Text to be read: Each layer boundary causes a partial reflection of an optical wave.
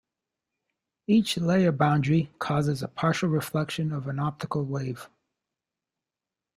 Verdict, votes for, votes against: rejected, 1, 2